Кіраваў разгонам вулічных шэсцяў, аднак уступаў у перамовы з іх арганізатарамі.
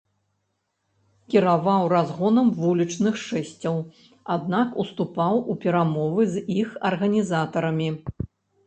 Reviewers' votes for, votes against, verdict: 0, 2, rejected